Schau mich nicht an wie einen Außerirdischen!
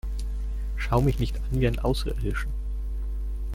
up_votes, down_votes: 2, 1